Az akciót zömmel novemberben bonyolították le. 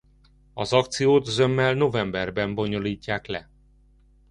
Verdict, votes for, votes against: rejected, 1, 2